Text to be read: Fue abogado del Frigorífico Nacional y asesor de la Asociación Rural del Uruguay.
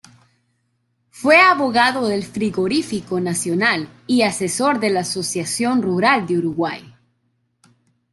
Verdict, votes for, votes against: rejected, 0, 2